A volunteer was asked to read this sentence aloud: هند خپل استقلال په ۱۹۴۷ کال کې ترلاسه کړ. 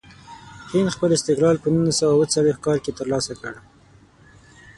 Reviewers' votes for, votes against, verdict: 0, 2, rejected